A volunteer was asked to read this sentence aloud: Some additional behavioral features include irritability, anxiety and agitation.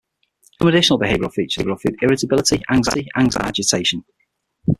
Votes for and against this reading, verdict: 0, 6, rejected